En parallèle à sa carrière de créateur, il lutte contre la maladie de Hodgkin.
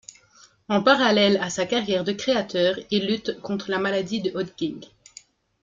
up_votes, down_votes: 2, 0